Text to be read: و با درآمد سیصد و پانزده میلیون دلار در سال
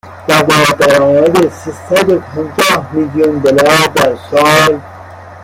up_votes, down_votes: 1, 2